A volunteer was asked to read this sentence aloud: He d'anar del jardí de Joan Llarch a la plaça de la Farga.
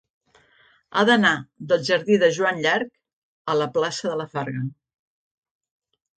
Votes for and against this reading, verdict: 1, 2, rejected